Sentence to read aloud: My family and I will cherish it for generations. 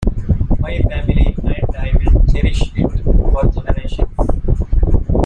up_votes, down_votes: 1, 2